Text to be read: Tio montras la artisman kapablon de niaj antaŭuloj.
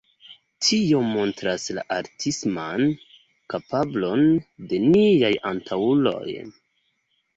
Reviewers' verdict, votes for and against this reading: accepted, 2, 0